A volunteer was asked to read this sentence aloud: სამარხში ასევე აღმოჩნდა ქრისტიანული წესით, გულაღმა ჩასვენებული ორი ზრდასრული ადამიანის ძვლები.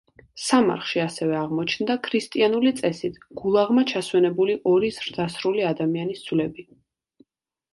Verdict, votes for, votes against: accepted, 2, 0